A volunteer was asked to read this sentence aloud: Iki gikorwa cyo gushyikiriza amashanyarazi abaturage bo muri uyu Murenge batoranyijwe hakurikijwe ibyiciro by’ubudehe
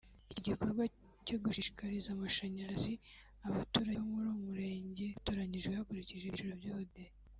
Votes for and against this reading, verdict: 0, 2, rejected